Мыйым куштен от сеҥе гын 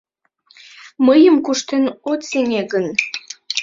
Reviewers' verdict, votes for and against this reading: rejected, 0, 2